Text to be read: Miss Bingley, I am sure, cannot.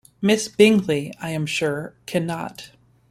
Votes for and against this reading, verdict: 2, 0, accepted